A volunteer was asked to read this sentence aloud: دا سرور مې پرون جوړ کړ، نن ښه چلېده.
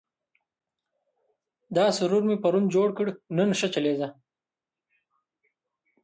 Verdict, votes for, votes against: rejected, 0, 2